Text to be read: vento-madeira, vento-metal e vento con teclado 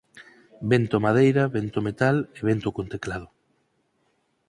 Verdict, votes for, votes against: accepted, 4, 0